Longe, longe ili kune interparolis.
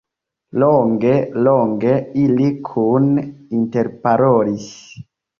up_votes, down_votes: 2, 0